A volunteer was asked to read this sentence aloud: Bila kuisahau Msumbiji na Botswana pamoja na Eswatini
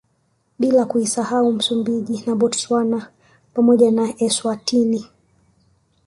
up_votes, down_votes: 2, 0